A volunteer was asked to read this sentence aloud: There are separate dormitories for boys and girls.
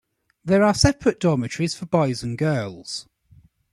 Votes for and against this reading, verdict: 2, 1, accepted